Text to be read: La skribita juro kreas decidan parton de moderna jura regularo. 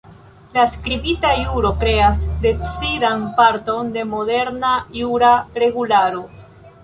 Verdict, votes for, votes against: accepted, 2, 0